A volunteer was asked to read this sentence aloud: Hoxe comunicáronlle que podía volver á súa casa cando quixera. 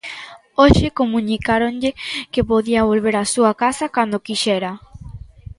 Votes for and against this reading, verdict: 2, 1, accepted